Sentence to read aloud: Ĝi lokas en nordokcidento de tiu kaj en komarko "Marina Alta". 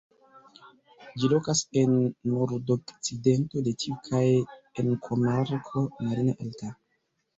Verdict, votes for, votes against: rejected, 1, 3